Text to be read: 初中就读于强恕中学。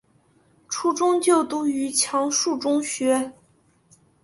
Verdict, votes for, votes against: accepted, 4, 0